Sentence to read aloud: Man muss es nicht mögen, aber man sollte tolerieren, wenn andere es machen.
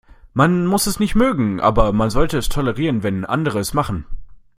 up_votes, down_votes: 0, 2